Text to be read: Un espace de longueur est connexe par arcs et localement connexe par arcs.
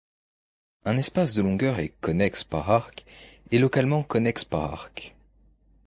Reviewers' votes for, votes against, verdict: 2, 0, accepted